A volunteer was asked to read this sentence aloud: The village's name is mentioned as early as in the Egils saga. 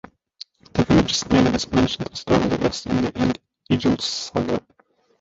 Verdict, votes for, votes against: rejected, 1, 2